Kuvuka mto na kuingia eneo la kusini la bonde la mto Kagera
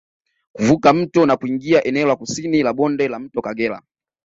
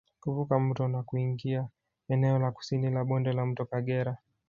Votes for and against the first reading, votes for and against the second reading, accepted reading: 2, 1, 1, 2, first